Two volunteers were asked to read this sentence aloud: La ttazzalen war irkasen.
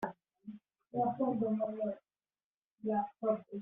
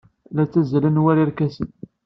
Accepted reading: second